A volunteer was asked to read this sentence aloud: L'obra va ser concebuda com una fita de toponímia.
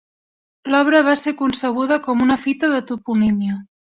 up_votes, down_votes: 3, 0